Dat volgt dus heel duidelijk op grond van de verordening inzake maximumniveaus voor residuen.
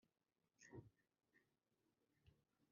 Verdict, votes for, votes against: rejected, 0, 2